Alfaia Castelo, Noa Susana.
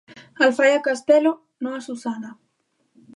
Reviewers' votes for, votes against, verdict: 2, 0, accepted